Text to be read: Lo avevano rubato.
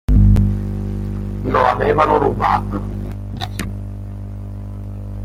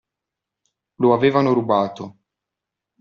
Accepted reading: second